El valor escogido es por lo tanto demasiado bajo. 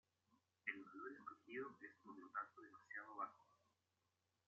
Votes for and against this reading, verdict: 0, 2, rejected